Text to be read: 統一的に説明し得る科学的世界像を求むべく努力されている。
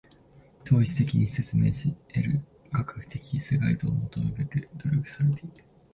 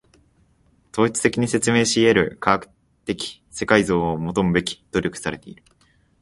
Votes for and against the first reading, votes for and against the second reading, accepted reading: 1, 2, 2, 1, second